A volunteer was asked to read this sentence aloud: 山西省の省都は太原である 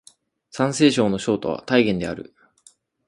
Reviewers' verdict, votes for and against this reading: accepted, 4, 0